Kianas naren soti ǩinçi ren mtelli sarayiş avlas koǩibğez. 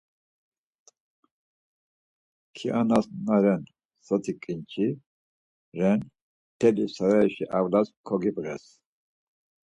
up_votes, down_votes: 4, 0